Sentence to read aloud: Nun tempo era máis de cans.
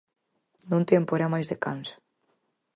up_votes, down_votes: 4, 0